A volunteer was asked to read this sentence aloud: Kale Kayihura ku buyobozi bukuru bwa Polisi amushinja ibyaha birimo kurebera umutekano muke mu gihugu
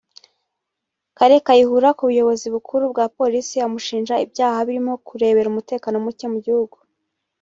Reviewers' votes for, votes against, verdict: 0, 2, rejected